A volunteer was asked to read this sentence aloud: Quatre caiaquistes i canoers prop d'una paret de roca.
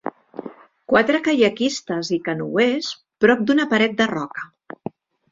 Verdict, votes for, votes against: accepted, 2, 0